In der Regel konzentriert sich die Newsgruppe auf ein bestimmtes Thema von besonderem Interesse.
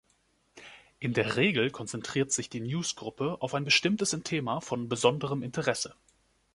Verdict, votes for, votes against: accepted, 2, 1